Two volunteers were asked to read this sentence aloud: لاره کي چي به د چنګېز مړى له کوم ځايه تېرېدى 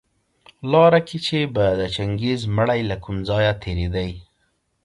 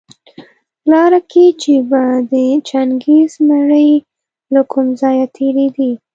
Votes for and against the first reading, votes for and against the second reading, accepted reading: 2, 0, 1, 2, first